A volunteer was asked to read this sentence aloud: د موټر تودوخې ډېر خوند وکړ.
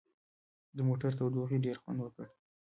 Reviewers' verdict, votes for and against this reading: rejected, 0, 2